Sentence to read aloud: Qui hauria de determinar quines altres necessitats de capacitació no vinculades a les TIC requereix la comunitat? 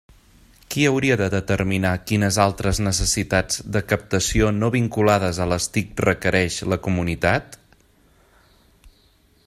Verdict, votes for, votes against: rejected, 1, 2